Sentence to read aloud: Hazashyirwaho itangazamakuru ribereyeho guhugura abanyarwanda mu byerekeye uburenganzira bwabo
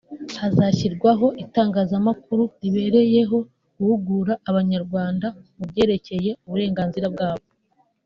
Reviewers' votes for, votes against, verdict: 3, 0, accepted